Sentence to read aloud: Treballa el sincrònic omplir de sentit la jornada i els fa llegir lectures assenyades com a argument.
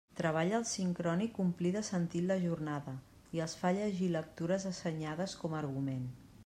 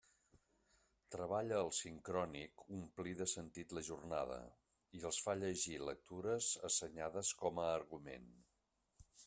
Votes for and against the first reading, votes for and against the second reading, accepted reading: 2, 0, 1, 2, first